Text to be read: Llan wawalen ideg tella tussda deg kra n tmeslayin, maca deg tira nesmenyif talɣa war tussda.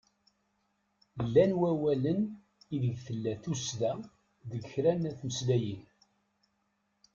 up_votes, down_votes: 0, 2